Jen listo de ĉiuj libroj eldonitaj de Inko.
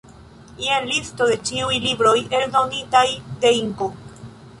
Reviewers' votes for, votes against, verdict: 2, 0, accepted